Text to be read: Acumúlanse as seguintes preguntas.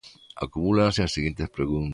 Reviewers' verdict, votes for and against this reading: rejected, 0, 2